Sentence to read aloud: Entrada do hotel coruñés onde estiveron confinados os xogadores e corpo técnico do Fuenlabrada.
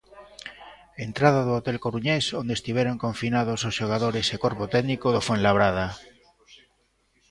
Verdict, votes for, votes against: accepted, 2, 0